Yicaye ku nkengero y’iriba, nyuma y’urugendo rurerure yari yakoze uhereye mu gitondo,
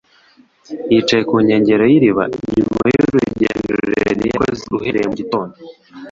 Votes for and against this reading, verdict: 0, 3, rejected